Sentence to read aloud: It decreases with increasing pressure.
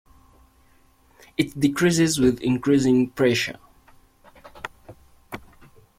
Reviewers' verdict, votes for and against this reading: accepted, 2, 1